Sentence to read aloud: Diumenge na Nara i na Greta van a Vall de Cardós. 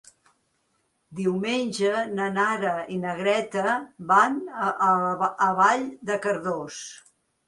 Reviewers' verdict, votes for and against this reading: rejected, 1, 2